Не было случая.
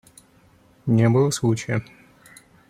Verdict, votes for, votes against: accepted, 2, 0